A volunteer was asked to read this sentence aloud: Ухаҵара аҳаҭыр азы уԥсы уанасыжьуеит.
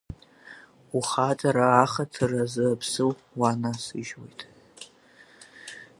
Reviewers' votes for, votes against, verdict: 6, 4, accepted